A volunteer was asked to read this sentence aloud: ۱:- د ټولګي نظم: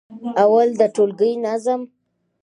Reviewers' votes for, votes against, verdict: 0, 2, rejected